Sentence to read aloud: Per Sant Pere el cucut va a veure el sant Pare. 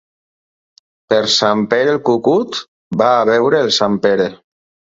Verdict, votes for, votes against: rejected, 2, 4